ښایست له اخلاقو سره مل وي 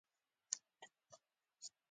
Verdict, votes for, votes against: accepted, 2, 1